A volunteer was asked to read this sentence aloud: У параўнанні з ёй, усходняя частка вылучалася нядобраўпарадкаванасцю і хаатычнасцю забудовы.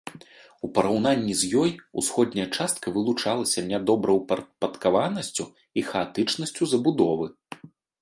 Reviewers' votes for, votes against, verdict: 1, 2, rejected